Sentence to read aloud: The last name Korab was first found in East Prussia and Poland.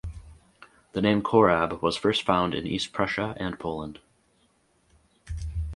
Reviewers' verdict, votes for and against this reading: rejected, 0, 4